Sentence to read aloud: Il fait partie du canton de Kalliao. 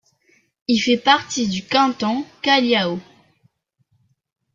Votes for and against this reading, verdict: 0, 2, rejected